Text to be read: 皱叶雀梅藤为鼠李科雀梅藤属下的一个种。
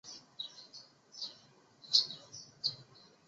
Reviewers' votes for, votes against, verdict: 0, 2, rejected